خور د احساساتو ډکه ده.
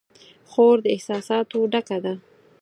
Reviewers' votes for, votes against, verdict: 4, 0, accepted